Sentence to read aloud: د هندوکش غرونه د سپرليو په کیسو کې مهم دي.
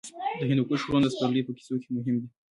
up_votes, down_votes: 1, 2